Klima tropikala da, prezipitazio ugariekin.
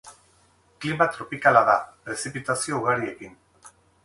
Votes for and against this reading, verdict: 6, 0, accepted